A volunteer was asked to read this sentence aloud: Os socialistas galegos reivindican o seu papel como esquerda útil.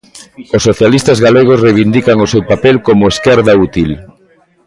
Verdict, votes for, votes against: rejected, 0, 2